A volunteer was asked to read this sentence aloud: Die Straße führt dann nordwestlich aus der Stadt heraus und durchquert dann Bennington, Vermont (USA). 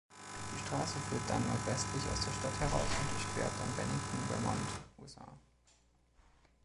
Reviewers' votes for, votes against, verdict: 2, 1, accepted